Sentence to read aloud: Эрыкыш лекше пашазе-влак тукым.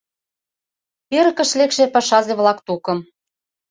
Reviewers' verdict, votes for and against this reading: accepted, 2, 0